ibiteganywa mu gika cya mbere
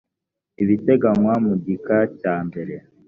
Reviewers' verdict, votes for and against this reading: accepted, 2, 0